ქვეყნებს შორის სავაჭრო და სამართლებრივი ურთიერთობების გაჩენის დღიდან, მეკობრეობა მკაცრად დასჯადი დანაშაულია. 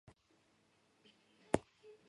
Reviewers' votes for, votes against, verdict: 1, 2, rejected